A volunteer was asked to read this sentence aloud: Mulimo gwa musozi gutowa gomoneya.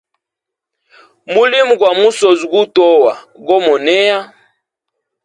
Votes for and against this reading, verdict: 2, 0, accepted